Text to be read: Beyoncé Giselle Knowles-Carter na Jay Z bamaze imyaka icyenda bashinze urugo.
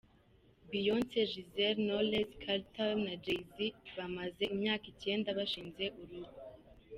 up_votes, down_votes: 2, 0